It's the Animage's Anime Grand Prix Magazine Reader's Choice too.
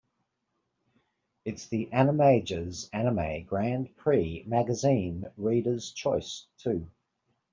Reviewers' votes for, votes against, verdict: 2, 0, accepted